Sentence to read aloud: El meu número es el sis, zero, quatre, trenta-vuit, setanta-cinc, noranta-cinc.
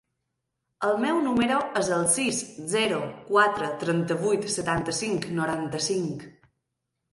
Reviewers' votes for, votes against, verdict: 3, 0, accepted